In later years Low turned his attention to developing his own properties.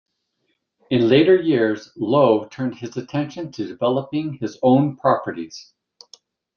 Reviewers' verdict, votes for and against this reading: rejected, 1, 2